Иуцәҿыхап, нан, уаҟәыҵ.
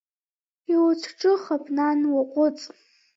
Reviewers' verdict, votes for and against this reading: rejected, 0, 2